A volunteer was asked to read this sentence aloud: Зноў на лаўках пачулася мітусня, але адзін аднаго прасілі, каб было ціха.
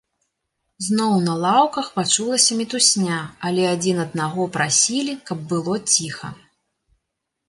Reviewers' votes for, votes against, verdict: 3, 0, accepted